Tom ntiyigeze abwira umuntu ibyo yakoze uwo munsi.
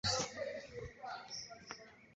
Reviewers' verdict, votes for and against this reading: rejected, 1, 2